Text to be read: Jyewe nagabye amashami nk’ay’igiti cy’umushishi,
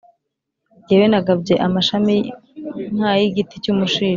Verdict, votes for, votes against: rejected, 2, 3